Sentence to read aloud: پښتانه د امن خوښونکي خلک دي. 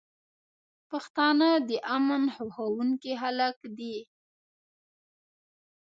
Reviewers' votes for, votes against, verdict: 0, 2, rejected